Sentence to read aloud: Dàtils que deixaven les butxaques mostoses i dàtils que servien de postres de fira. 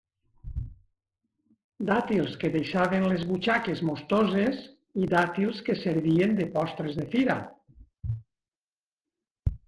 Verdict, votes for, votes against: accepted, 3, 0